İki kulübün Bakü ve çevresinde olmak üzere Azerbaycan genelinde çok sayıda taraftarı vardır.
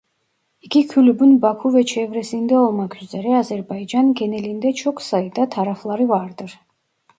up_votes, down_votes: 0, 2